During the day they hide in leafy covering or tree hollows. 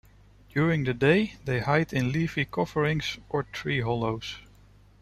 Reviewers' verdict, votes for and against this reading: rejected, 1, 2